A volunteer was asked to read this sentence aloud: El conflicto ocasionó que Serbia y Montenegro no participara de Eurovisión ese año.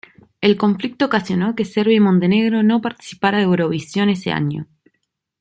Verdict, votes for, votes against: rejected, 0, 2